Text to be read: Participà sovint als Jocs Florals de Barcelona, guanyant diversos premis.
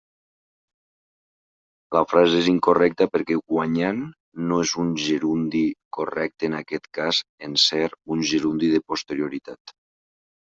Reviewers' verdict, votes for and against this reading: rejected, 1, 2